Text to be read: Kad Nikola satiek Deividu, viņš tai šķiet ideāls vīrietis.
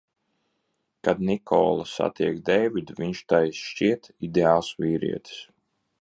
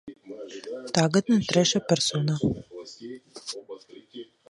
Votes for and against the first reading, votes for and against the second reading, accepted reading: 2, 0, 0, 2, first